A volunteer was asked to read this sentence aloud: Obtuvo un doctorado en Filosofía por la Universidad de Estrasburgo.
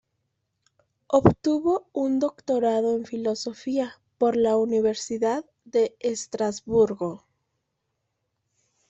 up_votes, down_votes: 2, 0